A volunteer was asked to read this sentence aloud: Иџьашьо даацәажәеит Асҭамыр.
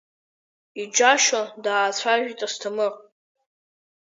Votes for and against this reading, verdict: 1, 4, rejected